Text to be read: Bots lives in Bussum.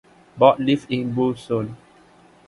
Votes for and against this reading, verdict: 1, 2, rejected